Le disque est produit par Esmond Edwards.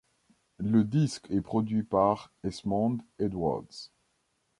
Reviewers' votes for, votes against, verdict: 2, 0, accepted